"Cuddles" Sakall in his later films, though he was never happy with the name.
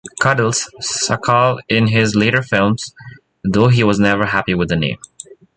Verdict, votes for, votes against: accepted, 2, 0